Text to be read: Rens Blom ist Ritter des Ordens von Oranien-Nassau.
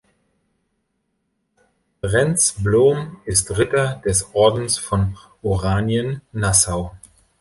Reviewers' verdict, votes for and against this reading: accepted, 2, 0